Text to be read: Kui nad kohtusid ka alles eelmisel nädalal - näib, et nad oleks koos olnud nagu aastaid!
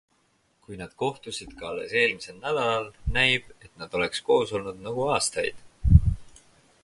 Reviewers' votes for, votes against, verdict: 4, 0, accepted